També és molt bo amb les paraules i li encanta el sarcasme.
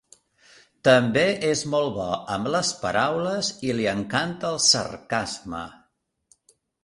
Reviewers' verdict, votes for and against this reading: accepted, 3, 0